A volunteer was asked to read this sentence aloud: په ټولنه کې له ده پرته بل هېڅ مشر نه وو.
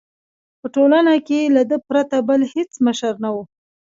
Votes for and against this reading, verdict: 1, 2, rejected